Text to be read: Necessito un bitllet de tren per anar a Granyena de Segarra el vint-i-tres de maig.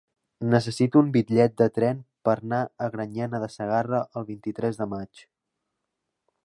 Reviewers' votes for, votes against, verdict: 1, 2, rejected